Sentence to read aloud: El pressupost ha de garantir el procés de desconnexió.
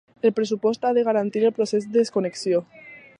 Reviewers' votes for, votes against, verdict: 2, 0, accepted